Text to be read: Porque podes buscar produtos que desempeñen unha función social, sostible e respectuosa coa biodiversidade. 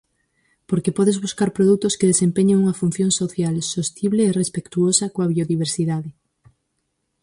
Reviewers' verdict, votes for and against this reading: accepted, 4, 0